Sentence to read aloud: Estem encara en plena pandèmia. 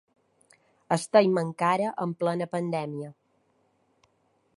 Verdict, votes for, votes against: accepted, 3, 0